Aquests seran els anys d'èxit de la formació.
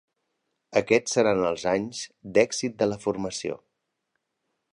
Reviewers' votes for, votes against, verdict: 2, 0, accepted